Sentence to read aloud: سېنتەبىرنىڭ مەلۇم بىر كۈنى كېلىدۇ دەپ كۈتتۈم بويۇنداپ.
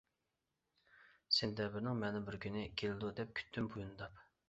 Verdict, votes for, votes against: rejected, 1, 2